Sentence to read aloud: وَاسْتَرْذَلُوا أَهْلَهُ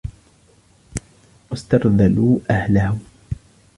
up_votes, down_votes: 2, 0